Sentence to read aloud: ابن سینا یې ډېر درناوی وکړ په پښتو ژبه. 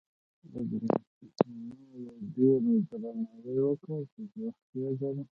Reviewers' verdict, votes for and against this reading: rejected, 1, 2